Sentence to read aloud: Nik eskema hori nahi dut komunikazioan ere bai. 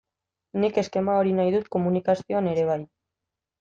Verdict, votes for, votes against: accepted, 2, 0